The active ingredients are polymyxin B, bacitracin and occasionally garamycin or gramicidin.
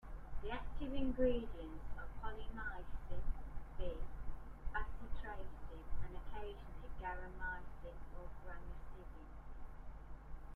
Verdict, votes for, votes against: rejected, 1, 2